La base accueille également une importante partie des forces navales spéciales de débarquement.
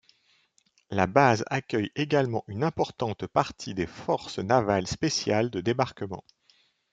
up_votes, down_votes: 2, 0